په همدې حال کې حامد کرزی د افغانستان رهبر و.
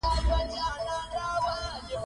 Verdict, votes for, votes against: rejected, 1, 2